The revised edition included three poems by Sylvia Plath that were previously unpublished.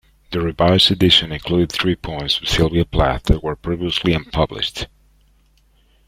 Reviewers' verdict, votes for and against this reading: rejected, 0, 2